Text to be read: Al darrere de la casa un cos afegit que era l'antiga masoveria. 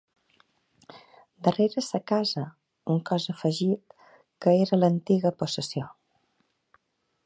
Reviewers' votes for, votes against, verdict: 0, 2, rejected